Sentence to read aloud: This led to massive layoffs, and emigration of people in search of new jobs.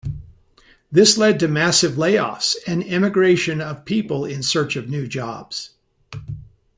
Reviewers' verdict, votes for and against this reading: accepted, 2, 0